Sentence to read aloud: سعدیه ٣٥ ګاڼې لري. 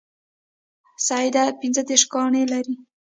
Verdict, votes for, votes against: rejected, 0, 2